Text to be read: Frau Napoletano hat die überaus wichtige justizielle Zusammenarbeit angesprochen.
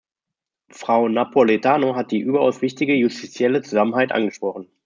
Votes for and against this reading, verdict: 1, 2, rejected